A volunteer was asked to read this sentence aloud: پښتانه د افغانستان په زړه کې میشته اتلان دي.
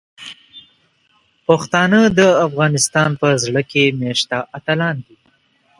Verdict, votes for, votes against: accepted, 2, 0